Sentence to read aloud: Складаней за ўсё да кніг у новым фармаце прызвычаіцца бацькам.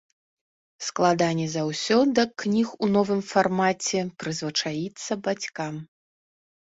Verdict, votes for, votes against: rejected, 1, 2